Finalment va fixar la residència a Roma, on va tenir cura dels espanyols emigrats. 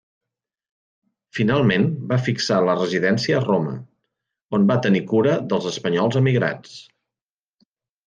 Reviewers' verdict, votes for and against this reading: accepted, 3, 0